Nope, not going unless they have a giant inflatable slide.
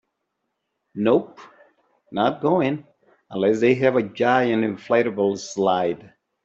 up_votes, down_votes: 2, 0